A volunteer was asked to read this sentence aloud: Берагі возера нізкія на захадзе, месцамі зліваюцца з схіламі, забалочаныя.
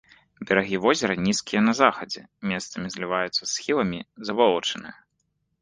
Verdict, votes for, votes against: accepted, 2, 0